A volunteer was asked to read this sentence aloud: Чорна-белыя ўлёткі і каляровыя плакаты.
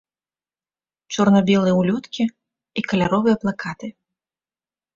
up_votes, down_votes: 2, 0